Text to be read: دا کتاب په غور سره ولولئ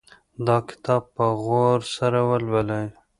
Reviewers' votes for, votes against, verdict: 2, 1, accepted